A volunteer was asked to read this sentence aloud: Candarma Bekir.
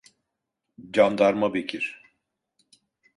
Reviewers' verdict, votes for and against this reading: accepted, 2, 0